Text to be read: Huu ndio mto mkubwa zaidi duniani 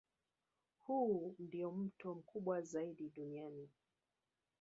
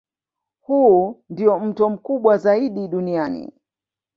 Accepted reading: second